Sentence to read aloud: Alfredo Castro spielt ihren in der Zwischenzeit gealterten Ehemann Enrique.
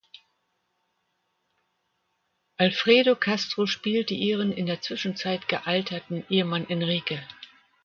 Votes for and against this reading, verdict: 0, 2, rejected